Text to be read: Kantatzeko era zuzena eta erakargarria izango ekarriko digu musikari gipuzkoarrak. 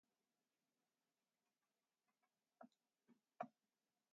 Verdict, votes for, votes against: rejected, 0, 2